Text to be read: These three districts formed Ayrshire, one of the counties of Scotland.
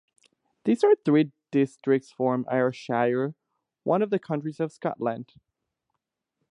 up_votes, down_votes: 0, 2